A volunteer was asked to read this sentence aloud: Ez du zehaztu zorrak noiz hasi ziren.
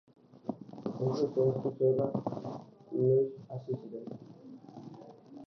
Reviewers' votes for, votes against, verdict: 0, 3, rejected